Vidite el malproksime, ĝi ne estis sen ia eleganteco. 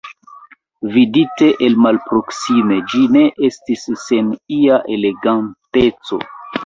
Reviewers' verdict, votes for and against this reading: rejected, 0, 2